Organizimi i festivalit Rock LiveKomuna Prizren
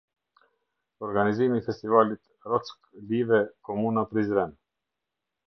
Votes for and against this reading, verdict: 0, 2, rejected